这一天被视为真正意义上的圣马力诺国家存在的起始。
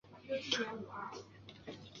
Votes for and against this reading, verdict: 2, 3, rejected